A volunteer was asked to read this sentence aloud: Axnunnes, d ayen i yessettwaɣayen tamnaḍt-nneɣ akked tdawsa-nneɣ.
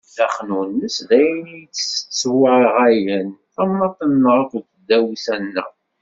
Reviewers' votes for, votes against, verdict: 1, 2, rejected